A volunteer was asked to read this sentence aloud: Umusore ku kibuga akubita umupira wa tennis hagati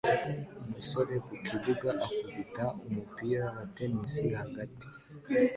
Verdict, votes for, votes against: accepted, 2, 0